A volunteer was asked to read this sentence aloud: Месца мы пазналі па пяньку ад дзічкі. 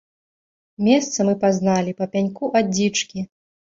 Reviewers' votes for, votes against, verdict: 2, 0, accepted